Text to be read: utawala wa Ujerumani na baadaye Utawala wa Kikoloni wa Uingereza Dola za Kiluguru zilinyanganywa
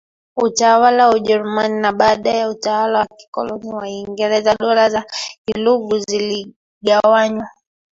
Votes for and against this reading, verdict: 2, 1, accepted